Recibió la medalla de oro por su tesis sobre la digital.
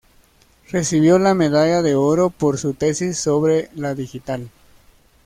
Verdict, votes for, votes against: accepted, 2, 0